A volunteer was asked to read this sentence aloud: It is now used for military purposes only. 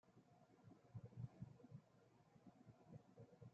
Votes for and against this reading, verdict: 0, 2, rejected